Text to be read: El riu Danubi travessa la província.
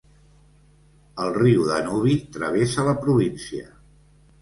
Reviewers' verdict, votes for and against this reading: accepted, 2, 0